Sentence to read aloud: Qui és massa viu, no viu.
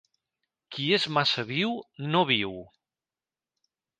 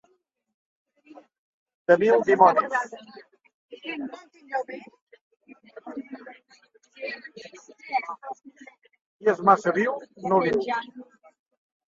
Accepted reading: first